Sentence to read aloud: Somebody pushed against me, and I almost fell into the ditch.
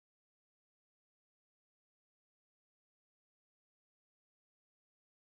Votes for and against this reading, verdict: 0, 2, rejected